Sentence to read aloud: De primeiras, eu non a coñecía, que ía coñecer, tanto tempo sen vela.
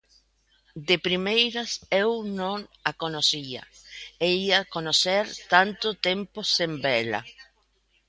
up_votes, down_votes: 0, 2